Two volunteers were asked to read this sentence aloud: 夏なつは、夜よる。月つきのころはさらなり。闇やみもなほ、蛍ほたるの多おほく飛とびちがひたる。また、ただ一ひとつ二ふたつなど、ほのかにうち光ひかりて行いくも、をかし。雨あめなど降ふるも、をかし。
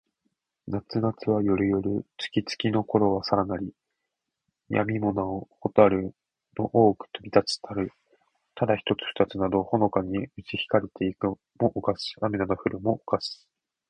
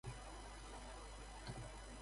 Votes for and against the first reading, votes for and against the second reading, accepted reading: 2, 0, 0, 2, first